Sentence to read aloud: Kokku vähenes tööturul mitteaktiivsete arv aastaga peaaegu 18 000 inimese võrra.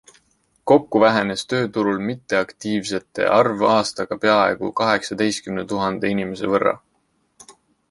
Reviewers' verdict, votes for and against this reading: rejected, 0, 2